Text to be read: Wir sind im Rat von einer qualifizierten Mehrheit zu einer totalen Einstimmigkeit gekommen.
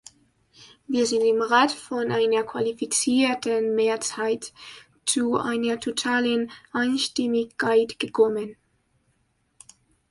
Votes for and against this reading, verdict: 0, 2, rejected